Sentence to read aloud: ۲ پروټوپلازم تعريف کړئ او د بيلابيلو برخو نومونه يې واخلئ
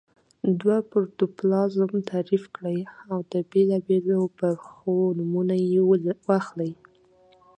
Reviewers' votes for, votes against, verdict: 0, 2, rejected